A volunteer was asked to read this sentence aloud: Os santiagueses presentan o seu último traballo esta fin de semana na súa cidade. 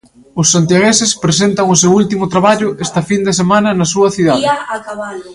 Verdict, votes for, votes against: rejected, 0, 2